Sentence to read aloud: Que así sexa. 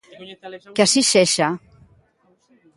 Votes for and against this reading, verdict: 2, 1, accepted